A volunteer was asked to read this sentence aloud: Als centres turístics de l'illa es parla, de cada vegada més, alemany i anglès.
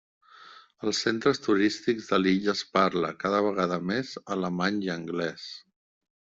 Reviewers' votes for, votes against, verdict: 1, 2, rejected